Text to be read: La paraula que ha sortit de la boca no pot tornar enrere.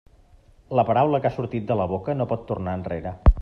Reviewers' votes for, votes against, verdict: 3, 0, accepted